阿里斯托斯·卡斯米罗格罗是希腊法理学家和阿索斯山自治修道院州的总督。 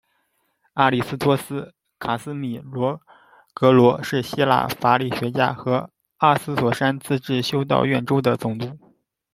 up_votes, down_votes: 2, 1